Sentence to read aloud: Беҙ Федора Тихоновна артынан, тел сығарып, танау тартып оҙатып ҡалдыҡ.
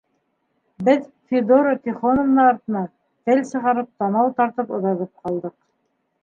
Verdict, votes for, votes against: rejected, 0, 2